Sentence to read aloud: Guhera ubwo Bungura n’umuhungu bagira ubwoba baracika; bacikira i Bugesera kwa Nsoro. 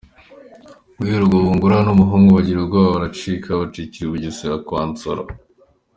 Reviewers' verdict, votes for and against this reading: accepted, 2, 0